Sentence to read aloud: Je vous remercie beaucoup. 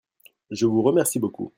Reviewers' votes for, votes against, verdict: 2, 0, accepted